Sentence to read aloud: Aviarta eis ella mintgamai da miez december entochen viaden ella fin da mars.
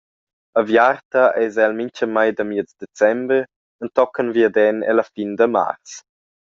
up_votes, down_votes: 0, 2